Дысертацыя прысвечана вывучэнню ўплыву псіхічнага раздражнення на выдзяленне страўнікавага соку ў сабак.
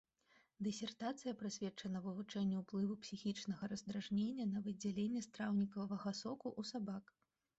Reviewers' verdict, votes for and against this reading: rejected, 0, 2